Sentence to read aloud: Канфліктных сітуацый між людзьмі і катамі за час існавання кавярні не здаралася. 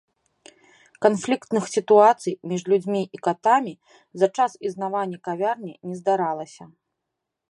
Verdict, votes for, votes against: accepted, 2, 0